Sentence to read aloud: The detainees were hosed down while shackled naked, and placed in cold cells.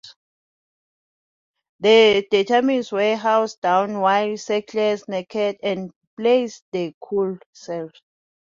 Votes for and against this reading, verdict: 2, 0, accepted